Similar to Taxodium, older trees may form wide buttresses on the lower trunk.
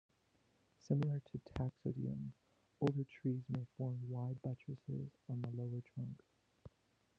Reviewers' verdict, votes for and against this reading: rejected, 0, 2